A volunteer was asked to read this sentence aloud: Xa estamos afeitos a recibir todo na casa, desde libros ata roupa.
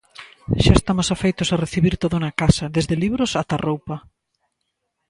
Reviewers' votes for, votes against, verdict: 2, 0, accepted